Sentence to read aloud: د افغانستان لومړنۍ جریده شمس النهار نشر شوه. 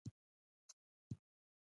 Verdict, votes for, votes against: rejected, 1, 2